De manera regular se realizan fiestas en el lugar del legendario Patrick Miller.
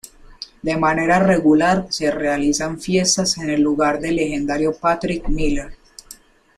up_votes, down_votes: 2, 0